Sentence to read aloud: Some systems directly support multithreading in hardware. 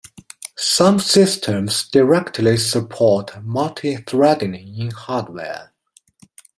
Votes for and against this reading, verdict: 2, 0, accepted